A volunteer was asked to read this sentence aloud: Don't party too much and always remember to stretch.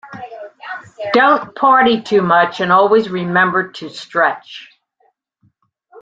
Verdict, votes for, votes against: accepted, 2, 0